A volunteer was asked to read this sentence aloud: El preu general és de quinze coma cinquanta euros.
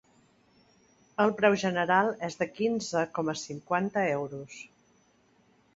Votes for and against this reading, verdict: 2, 0, accepted